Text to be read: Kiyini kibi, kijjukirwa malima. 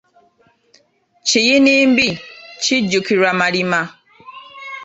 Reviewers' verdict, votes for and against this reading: rejected, 0, 2